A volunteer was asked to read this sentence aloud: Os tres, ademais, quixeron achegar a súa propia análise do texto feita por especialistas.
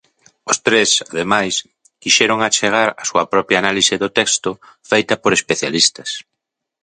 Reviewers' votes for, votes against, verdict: 2, 0, accepted